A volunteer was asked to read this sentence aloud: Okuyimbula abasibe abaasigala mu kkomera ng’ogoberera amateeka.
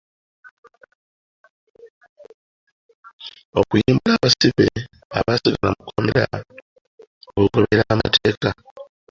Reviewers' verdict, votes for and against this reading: accepted, 2, 1